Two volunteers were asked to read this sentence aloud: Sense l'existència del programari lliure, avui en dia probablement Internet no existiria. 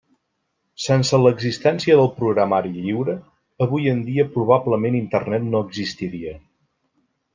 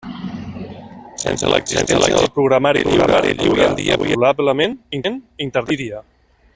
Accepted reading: first